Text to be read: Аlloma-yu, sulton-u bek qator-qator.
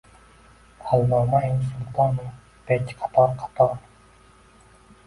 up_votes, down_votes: 1, 2